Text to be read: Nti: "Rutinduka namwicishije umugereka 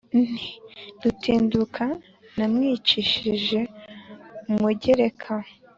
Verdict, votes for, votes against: accepted, 3, 0